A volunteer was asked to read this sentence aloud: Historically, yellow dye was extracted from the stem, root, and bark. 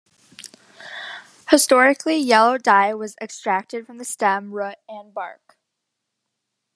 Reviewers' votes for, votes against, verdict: 1, 2, rejected